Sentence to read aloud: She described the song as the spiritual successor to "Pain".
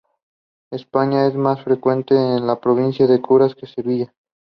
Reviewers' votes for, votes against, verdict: 1, 2, rejected